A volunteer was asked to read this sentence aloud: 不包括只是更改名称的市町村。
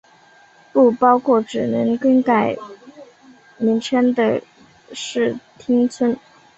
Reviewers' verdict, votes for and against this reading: accepted, 7, 2